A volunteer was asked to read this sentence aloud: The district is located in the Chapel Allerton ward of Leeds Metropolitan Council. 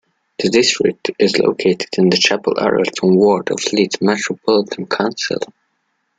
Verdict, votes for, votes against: rejected, 0, 2